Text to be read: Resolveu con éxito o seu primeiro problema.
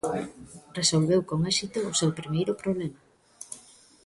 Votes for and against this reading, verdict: 2, 0, accepted